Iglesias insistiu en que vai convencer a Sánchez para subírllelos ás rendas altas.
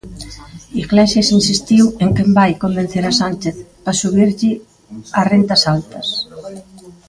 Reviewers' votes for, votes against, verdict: 0, 2, rejected